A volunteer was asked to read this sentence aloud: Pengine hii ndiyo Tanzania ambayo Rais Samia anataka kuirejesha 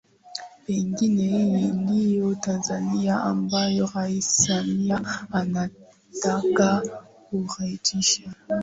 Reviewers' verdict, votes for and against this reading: rejected, 2, 2